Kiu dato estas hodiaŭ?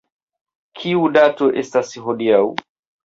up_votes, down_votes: 0, 2